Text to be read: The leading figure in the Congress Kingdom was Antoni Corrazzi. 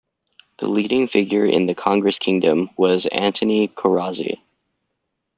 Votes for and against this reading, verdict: 2, 1, accepted